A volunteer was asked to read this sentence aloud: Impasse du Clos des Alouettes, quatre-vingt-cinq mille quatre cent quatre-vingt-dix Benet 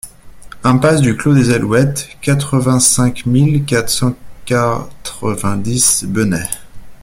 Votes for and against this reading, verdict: 0, 2, rejected